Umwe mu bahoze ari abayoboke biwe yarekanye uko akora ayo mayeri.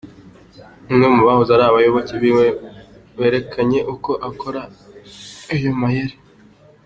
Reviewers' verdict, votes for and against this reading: accepted, 2, 1